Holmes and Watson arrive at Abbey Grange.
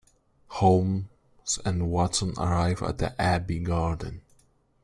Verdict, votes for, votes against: rejected, 0, 2